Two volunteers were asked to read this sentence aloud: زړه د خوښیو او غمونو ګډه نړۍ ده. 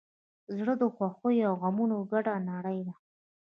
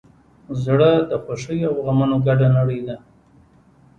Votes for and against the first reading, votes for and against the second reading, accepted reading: 3, 0, 0, 2, first